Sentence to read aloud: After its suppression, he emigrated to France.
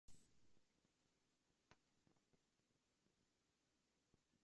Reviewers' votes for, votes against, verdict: 0, 2, rejected